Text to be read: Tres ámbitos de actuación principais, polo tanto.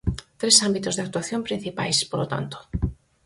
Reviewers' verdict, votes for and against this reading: accepted, 4, 0